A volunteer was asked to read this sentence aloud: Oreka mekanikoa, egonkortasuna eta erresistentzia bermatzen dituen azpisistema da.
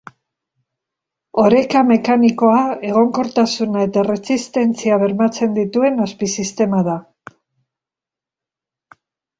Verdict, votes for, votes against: accepted, 2, 0